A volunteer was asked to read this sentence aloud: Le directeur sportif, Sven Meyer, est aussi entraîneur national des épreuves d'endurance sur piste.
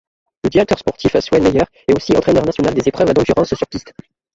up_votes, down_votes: 2, 1